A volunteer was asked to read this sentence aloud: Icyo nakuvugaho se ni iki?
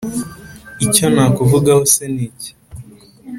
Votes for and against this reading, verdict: 2, 0, accepted